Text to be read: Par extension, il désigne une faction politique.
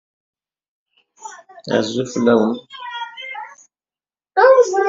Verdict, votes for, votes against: rejected, 0, 2